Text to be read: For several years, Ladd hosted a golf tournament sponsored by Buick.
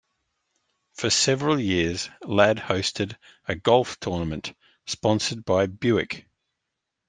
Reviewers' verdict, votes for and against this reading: accepted, 3, 0